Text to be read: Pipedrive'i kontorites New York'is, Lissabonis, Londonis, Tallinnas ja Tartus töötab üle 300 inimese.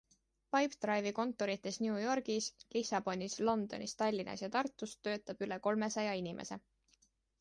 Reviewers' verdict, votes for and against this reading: rejected, 0, 2